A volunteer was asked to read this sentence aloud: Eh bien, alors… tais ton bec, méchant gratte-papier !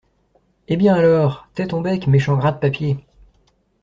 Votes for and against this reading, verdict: 2, 0, accepted